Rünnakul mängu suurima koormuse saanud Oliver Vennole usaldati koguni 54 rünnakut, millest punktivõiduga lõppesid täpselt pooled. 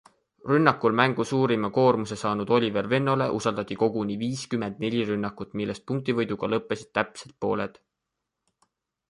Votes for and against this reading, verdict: 0, 2, rejected